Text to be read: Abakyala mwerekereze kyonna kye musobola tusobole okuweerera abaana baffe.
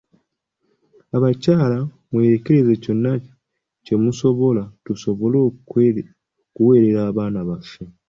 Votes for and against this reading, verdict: 2, 1, accepted